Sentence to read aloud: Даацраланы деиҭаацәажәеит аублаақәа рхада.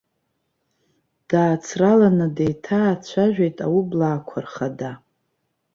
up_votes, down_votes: 2, 0